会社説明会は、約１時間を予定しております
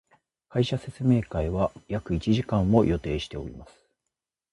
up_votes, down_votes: 0, 2